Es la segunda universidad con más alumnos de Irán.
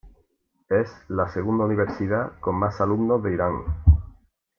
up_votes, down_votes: 2, 0